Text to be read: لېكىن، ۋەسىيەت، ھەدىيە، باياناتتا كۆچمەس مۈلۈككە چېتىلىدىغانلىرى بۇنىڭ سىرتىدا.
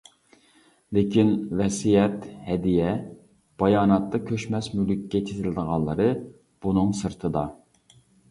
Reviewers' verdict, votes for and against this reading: accepted, 2, 1